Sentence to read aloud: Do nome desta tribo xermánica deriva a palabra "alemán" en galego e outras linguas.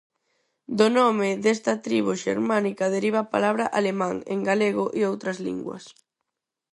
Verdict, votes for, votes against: accepted, 4, 0